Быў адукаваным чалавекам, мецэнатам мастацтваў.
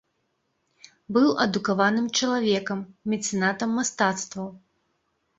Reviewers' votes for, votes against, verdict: 2, 0, accepted